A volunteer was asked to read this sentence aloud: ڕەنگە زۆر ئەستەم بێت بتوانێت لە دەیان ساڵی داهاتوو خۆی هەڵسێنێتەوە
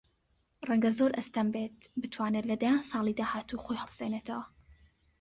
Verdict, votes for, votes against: accepted, 2, 0